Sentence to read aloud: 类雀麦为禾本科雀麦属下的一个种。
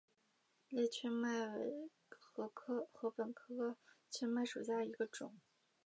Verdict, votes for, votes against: rejected, 0, 2